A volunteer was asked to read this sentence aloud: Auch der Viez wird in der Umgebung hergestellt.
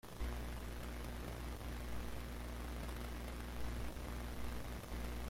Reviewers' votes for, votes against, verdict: 0, 2, rejected